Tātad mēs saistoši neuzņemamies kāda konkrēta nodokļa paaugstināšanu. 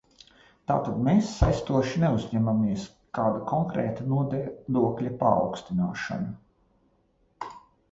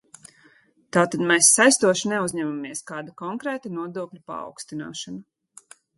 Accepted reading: second